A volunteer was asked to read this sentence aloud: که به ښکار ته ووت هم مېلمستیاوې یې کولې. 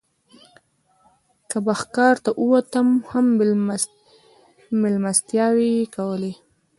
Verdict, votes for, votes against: rejected, 0, 2